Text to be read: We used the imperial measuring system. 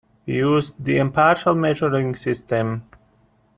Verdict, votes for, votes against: rejected, 0, 2